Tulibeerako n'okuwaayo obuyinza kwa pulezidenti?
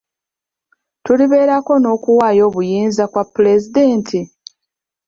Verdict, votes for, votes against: accepted, 2, 0